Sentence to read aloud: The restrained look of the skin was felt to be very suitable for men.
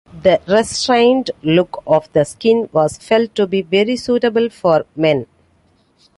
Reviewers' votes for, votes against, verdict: 3, 0, accepted